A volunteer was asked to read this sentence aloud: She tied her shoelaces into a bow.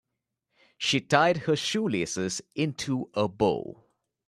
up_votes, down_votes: 2, 0